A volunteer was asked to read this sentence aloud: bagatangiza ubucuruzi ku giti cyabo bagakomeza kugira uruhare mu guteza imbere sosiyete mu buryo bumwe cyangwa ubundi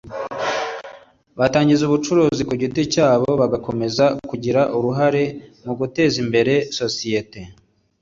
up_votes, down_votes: 2, 0